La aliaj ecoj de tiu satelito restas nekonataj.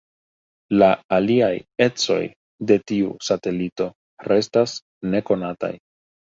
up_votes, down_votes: 2, 0